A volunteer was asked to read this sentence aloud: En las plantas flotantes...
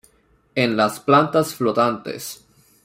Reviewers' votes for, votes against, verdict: 2, 0, accepted